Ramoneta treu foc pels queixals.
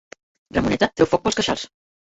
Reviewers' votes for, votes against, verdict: 0, 2, rejected